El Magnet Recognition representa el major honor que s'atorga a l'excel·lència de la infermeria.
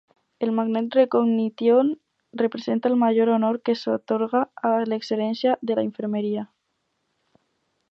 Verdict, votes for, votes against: rejected, 2, 2